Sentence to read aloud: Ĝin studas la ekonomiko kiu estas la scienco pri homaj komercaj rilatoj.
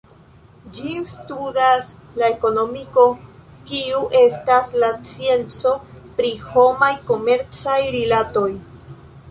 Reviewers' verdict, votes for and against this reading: accepted, 2, 0